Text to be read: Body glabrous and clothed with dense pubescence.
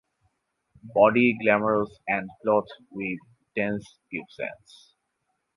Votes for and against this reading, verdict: 2, 2, rejected